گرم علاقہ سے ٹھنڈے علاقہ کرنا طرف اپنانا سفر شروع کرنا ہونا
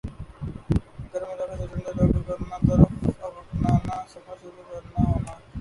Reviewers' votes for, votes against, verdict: 4, 7, rejected